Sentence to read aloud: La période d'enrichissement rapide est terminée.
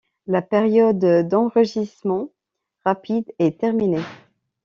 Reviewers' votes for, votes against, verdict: 1, 2, rejected